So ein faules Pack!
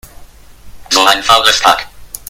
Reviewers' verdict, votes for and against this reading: rejected, 0, 2